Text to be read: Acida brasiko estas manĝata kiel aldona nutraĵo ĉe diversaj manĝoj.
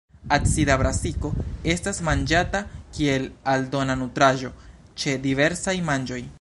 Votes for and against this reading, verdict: 2, 1, accepted